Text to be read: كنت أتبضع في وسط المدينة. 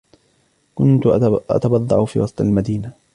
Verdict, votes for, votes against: accepted, 2, 0